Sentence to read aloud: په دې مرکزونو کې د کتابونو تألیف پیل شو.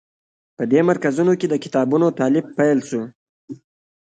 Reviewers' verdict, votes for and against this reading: accepted, 2, 1